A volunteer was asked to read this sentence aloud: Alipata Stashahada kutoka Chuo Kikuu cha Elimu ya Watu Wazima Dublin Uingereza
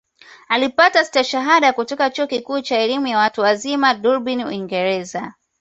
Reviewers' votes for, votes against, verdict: 2, 1, accepted